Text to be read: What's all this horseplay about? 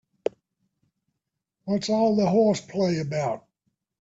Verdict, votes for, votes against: rejected, 0, 2